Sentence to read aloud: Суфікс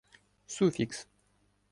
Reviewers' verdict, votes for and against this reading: rejected, 1, 2